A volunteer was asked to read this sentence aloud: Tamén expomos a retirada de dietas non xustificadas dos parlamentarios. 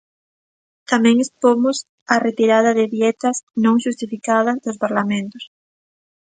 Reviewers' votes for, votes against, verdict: 0, 2, rejected